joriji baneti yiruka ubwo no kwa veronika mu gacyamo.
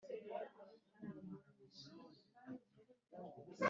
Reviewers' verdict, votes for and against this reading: rejected, 1, 2